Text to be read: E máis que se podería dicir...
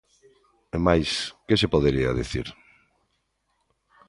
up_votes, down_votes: 2, 0